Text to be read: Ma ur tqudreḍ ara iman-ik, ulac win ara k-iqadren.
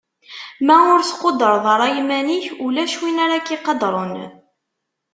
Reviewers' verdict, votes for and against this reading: accepted, 2, 0